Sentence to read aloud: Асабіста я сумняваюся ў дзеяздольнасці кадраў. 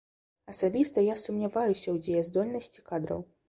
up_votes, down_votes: 2, 0